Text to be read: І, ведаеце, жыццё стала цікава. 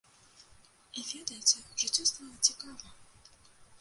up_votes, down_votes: 0, 2